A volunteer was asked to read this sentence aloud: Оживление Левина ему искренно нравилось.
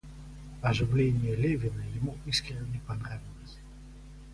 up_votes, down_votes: 0, 2